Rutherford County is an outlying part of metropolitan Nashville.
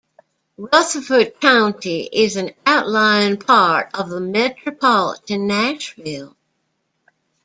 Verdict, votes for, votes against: rejected, 1, 2